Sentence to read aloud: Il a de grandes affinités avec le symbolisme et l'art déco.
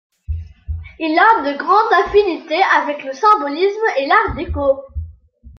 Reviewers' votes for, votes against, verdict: 2, 0, accepted